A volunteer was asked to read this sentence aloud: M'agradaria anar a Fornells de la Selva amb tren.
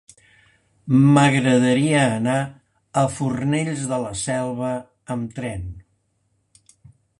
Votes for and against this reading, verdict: 2, 0, accepted